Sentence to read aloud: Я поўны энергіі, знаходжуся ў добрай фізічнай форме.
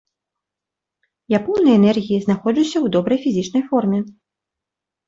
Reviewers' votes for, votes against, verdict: 2, 0, accepted